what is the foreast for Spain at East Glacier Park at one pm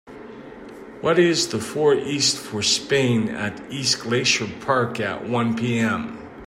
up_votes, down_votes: 2, 1